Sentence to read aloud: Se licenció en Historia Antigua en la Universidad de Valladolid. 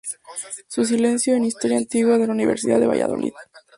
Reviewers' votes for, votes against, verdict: 0, 4, rejected